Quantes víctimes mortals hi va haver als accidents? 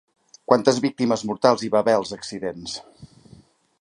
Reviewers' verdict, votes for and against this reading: accepted, 2, 0